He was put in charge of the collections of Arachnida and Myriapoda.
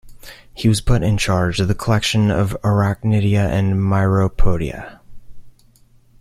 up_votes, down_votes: 1, 2